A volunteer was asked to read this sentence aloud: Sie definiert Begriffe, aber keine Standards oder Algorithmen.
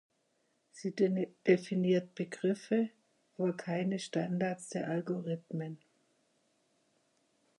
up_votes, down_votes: 0, 6